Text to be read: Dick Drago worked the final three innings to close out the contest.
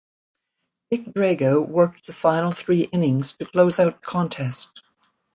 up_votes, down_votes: 0, 2